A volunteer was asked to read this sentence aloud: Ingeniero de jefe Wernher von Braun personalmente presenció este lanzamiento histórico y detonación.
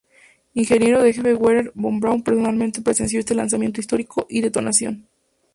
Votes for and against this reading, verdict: 2, 0, accepted